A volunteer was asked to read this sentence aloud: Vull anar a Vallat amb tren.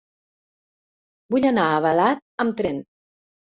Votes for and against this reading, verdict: 0, 2, rejected